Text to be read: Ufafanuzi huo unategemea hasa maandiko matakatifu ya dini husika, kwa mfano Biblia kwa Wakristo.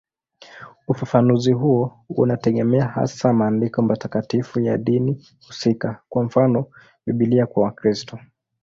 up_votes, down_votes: 2, 0